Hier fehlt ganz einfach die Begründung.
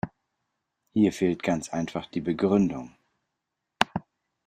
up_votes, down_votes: 2, 0